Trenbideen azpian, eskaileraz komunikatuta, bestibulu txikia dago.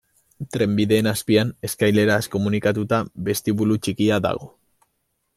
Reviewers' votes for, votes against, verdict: 2, 0, accepted